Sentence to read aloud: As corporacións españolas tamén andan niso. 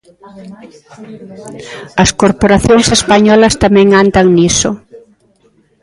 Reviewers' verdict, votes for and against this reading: rejected, 0, 2